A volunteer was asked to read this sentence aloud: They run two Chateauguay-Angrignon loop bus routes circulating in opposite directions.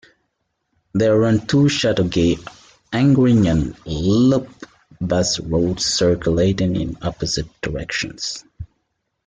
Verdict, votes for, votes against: rejected, 1, 2